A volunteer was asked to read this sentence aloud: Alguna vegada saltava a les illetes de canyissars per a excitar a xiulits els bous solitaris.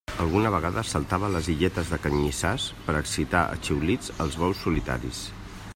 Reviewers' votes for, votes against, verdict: 2, 0, accepted